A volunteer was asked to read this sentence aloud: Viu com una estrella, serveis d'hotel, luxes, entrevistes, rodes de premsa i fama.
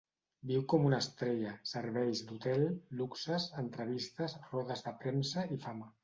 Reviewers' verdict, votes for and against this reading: accepted, 2, 0